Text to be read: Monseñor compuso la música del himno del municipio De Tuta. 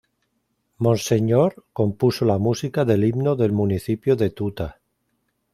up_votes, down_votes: 2, 0